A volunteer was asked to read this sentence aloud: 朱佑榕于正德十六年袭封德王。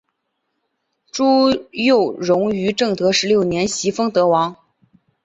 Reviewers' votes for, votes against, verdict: 2, 0, accepted